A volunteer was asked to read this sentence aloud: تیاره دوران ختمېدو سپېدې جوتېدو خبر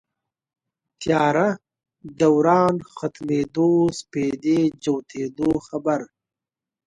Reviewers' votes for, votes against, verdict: 2, 0, accepted